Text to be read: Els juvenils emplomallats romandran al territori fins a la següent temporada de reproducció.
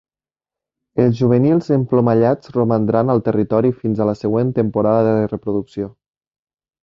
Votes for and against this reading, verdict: 2, 0, accepted